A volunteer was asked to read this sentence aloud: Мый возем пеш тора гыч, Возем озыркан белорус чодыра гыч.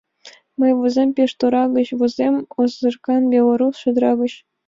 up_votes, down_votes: 2, 0